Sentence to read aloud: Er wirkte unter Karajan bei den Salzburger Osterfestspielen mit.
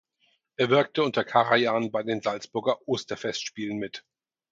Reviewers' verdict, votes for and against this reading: accepted, 4, 0